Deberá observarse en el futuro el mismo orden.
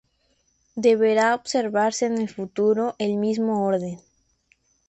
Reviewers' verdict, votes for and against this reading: accepted, 2, 0